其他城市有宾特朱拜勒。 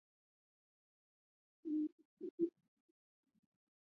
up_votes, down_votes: 1, 3